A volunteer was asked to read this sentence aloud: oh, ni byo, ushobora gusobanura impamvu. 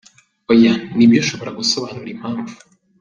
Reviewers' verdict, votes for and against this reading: accepted, 2, 0